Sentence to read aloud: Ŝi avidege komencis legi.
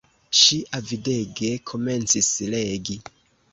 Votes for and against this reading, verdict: 1, 2, rejected